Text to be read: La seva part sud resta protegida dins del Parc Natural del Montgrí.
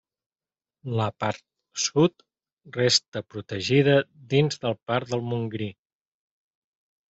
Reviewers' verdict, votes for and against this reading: rejected, 0, 2